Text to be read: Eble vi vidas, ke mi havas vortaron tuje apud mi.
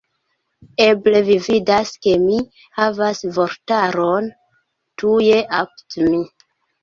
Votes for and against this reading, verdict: 0, 2, rejected